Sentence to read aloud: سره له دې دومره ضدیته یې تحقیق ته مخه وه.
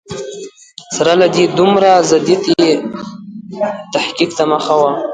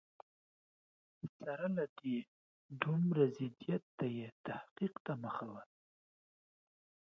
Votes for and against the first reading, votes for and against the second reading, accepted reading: 1, 2, 2, 0, second